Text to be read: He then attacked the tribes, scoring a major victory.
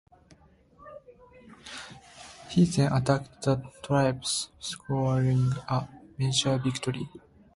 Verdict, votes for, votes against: rejected, 1, 2